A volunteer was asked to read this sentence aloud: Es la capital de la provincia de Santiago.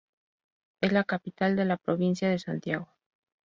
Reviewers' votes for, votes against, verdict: 2, 0, accepted